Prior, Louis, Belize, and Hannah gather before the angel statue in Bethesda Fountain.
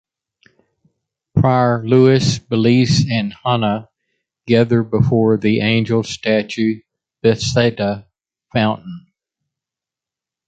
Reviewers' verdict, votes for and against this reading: rejected, 0, 2